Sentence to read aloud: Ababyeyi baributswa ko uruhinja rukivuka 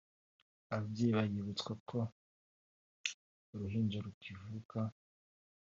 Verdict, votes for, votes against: accepted, 2, 0